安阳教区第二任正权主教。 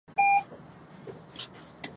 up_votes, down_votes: 0, 2